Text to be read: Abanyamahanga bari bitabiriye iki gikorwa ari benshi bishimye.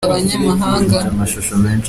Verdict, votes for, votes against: rejected, 0, 2